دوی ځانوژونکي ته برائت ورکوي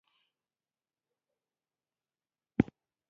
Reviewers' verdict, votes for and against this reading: rejected, 1, 2